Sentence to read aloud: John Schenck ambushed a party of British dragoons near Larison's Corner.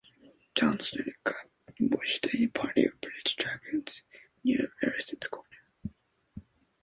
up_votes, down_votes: 2, 0